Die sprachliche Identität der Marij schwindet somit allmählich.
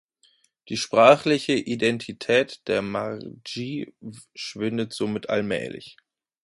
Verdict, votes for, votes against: rejected, 1, 2